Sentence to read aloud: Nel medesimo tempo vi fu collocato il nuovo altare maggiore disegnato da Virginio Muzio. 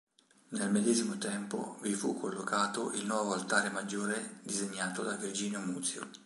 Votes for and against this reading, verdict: 3, 0, accepted